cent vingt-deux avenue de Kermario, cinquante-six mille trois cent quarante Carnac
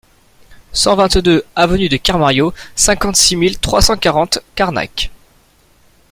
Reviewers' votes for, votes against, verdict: 3, 0, accepted